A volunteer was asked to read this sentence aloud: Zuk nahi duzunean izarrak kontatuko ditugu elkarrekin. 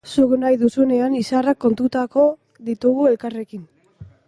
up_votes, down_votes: 0, 2